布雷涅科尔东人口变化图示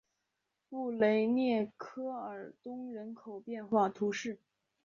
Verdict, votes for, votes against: accepted, 2, 0